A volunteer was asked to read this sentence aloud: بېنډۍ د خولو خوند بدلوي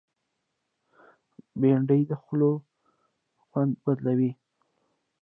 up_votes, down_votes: 2, 0